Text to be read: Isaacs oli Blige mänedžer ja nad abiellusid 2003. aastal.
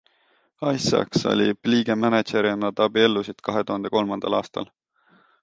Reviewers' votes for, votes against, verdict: 0, 2, rejected